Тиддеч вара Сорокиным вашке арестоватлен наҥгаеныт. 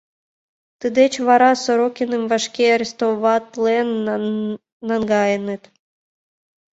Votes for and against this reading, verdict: 0, 2, rejected